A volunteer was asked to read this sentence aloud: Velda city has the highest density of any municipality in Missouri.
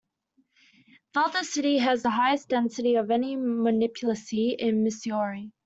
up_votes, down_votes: 0, 2